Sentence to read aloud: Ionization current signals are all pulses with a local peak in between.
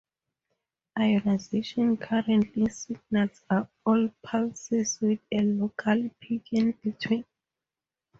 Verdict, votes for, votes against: accepted, 2, 0